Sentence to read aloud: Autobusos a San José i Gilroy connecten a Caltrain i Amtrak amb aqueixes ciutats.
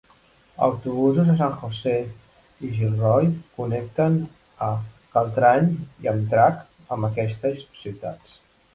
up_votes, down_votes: 1, 2